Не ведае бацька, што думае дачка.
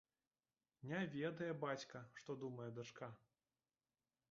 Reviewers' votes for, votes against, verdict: 2, 1, accepted